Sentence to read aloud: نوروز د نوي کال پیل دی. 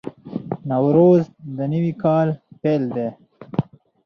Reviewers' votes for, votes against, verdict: 0, 2, rejected